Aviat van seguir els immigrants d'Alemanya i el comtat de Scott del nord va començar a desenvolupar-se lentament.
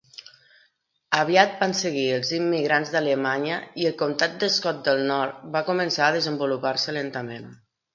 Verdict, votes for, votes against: rejected, 1, 2